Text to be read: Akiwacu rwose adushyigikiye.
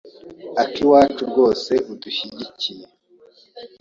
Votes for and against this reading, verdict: 0, 2, rejected